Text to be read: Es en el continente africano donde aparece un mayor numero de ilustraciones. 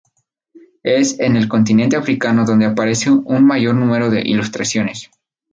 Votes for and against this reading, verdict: 2, 2, rejected